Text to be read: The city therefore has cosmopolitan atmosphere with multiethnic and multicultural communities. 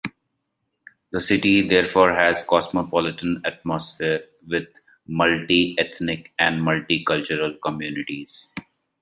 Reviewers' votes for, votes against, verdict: 3, 0, accepted